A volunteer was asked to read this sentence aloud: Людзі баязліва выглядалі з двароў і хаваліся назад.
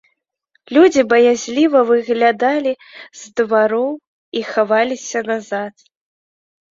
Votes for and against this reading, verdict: 2, 1, accepted